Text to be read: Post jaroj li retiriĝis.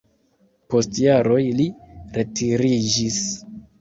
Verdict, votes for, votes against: rejected, 0, 2